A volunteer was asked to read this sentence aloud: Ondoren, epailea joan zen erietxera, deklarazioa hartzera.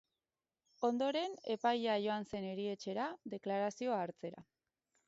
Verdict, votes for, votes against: rejected, 0, 2